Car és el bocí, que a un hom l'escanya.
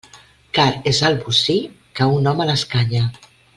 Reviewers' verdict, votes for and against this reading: rejected, 0, 2